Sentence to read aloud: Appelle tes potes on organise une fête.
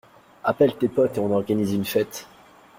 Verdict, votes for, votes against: rejected, 1, 2